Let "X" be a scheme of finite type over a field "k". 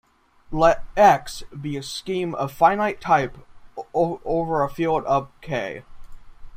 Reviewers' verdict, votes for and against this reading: rejected, 0, 2